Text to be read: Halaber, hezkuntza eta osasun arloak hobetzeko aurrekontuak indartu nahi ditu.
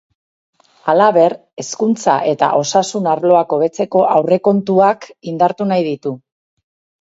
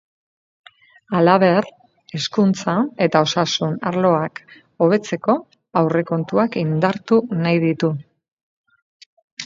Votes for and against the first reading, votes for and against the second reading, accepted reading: 4, 0, 2, 2, first